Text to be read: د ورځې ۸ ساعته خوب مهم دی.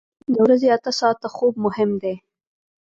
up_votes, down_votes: 0, 2